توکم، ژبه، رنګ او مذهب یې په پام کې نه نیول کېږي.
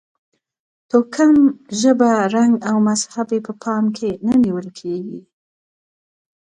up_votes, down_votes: 2, 0